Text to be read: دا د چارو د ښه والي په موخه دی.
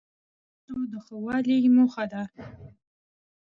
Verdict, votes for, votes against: accepted, 2, 1